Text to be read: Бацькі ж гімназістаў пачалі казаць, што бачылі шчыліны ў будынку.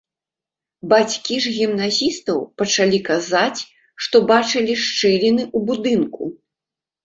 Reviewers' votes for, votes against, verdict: 2, 0, accepted